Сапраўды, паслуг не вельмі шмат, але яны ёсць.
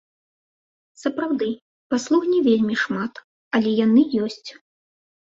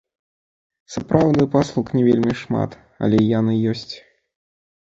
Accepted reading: first